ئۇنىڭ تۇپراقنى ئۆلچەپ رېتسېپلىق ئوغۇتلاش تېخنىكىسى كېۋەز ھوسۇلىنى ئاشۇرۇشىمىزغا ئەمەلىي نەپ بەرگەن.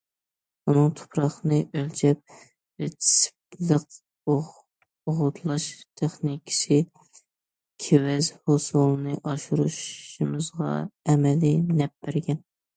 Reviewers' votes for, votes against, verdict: 1, 2, rejected